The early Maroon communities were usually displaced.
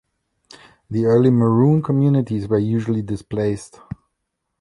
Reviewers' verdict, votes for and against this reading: rejected, 0, 2